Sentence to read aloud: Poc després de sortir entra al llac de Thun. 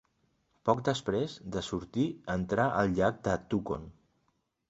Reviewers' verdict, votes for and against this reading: rejected, 0, 2